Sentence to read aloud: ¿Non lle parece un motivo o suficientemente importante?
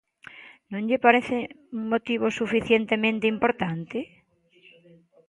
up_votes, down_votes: 1, 2